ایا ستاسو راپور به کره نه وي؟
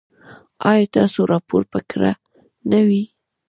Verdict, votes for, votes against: accepted, 2, 0